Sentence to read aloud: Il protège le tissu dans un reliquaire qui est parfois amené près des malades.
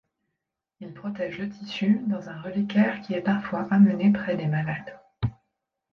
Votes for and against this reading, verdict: 2, 0, accepted